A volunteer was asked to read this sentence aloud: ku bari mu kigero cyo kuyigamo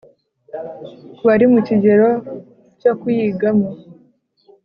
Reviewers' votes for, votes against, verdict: 2, 0, accepted